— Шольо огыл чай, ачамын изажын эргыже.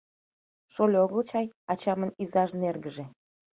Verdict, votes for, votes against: accepted, 2, 1